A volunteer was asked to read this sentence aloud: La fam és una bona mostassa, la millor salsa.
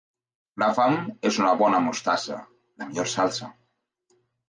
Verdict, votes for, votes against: accepted, 3, 0